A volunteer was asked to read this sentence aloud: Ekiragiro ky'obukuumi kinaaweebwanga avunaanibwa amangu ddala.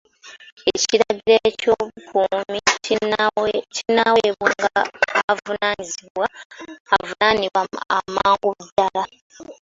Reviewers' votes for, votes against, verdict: 0, 2, rejected